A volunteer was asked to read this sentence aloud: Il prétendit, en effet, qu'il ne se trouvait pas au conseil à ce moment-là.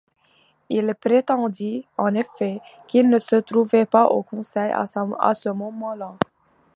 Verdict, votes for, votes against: accepted, 2, 1